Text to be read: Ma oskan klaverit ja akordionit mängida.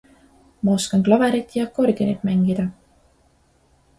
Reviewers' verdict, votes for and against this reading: accepted, 2, 0